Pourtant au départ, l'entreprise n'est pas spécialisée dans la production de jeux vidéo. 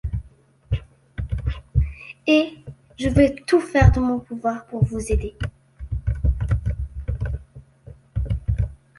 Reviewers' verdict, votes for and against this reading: rejected, 0, 2